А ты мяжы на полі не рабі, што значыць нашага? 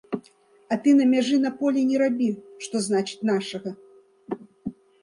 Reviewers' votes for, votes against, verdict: 0, 2, rejected